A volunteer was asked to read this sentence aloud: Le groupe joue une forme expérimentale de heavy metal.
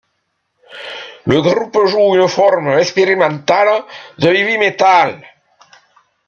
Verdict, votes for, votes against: accepted, 2, 0